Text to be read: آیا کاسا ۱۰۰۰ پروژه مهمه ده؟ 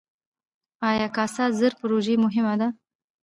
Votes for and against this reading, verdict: 0, 2, rejected